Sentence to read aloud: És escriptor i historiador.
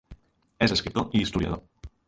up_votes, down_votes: 2, 0